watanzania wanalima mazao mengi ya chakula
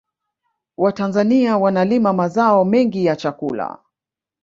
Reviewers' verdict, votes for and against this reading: accepted, 2, 1